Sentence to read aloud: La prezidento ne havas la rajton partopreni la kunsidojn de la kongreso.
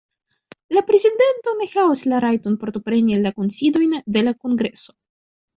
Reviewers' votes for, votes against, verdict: 0, 3, rejected